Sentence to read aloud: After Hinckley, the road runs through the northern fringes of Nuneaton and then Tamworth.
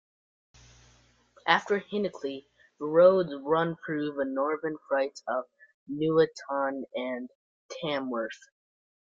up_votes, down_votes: 0, 2